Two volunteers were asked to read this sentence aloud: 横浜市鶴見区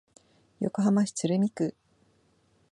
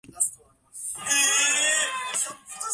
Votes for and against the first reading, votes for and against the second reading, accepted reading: 2, 0, 1, 2, first